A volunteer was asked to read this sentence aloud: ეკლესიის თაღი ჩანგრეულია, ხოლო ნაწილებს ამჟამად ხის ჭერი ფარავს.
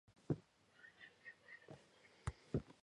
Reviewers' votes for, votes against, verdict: 1, 2, rejected